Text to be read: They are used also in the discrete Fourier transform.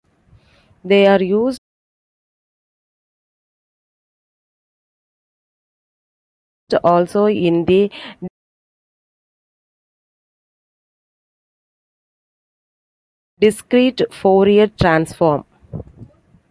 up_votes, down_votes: 0, 2